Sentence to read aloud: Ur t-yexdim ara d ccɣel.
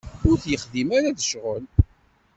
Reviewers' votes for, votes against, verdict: 2, 0, accepted